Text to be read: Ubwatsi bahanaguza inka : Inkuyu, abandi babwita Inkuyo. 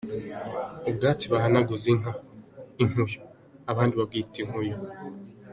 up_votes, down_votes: 2, 1